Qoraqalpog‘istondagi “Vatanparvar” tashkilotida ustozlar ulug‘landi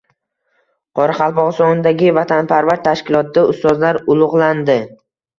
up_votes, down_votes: 2, 1